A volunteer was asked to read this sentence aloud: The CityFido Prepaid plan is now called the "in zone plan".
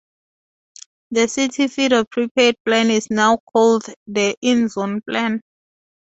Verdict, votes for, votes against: accepted, 4, 0